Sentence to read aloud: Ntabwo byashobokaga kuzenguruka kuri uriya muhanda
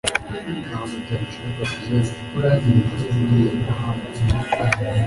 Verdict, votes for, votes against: rejected, 1, 2